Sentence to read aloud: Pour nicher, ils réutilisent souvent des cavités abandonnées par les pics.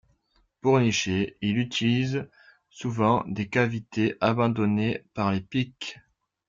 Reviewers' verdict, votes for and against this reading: rejected, 0, 2